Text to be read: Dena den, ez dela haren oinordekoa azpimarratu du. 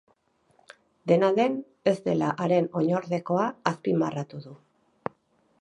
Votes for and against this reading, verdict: 4, 0, accepted